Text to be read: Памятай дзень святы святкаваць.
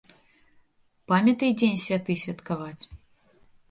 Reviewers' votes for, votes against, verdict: 2, 0, accepted